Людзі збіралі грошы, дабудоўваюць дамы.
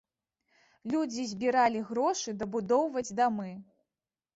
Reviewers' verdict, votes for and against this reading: rejected, 0, 2